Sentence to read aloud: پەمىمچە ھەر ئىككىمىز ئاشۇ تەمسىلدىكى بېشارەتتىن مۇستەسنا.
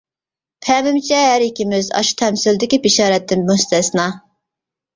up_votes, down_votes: 2, 0